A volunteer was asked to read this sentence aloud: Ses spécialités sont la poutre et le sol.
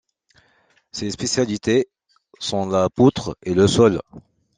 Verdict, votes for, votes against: accepted, 2, 0